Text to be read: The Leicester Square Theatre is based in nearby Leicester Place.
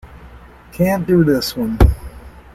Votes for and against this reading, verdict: 0, 2, rejected